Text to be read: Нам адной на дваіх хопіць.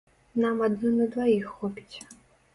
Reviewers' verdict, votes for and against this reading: accepted, 3, 0